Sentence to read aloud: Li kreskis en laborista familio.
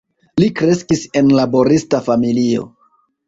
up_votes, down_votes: 2, 0